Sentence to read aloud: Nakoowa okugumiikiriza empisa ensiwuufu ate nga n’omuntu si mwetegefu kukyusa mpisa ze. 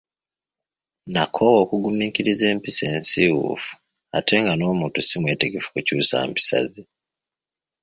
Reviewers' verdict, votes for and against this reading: accepted, 2, 0